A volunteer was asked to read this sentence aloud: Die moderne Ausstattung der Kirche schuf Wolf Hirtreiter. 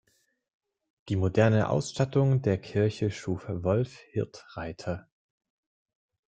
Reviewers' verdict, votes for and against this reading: rejected, 0, 2